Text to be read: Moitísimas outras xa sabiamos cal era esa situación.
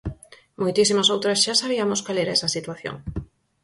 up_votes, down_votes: 4, 0